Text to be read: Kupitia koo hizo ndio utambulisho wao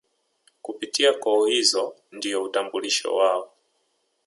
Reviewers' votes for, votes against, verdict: 0, 2, rejected